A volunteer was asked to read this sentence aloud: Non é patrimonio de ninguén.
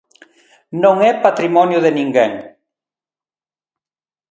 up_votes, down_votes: 2, 0